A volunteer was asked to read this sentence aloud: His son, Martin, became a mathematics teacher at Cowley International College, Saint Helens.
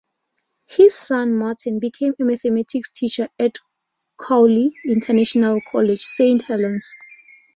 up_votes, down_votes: 2, 0